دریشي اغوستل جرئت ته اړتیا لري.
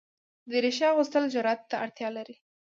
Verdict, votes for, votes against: accepted, 2, 0